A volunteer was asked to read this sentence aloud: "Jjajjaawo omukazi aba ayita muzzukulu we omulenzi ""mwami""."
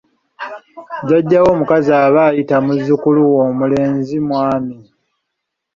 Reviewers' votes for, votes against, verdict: 2, 0, accepted